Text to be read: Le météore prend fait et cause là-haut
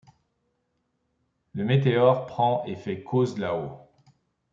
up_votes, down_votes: 1, 3